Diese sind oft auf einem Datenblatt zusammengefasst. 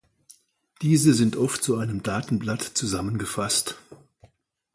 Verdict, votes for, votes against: rejected, 0, 2